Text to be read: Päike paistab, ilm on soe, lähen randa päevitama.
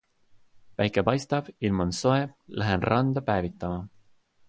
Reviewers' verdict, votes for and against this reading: accepted, 2, 0